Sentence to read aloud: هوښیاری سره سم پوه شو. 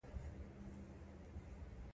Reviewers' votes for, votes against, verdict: 1, 2, rejected